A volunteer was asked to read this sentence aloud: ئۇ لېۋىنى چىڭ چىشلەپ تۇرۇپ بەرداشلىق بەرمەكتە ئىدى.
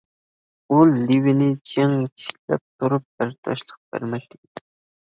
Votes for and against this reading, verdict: 1, 2, rejected